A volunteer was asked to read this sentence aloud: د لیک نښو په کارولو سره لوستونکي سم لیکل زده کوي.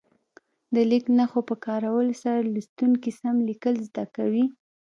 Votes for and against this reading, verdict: 2, 0, accepted